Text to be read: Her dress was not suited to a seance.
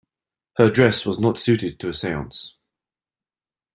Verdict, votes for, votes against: accepted, 2, 0